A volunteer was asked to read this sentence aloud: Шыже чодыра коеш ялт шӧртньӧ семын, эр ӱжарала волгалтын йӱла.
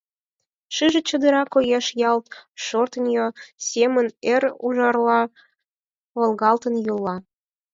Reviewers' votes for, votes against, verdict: 2, 4, rejected